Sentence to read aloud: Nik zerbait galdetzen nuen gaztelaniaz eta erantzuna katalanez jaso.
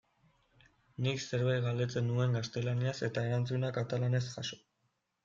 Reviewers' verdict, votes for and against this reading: accepted, 2, 0